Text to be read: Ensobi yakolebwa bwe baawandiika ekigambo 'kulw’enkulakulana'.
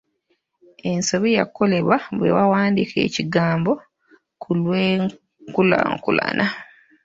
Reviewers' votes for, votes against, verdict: 1, 2, rejected